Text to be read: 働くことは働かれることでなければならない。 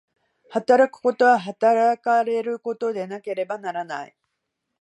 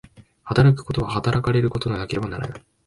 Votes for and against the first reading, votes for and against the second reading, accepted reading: 0, 2, 2, 0, second